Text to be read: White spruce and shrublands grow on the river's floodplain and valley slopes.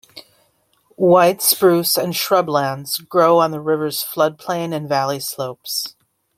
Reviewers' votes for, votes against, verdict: 2, 0, accepted